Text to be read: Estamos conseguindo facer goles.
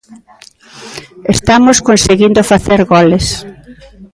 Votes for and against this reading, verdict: 2, 0, accepted